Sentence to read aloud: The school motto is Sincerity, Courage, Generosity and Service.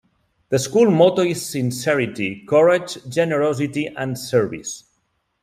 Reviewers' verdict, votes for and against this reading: accepted, 2, 1